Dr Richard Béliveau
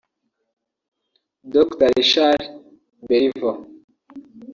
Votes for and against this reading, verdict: 1, 2, rejected